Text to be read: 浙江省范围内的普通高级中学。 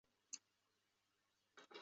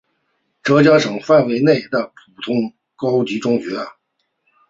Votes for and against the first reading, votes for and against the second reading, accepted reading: 1, 2, 2, 0, second